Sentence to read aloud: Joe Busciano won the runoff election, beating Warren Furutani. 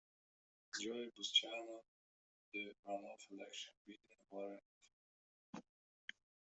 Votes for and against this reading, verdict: 0, 2, rejected